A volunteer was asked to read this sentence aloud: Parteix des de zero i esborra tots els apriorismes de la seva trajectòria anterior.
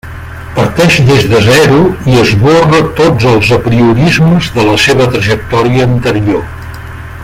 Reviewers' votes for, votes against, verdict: 1, 2, rejected